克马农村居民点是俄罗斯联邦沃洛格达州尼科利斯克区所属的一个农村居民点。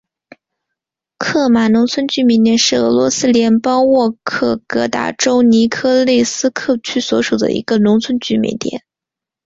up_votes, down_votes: 3, 1